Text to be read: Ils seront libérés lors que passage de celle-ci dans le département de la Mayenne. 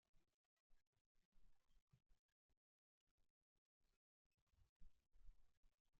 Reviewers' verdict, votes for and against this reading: rejected, 0, 3